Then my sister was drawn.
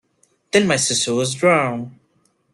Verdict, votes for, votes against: rejected, 1, 2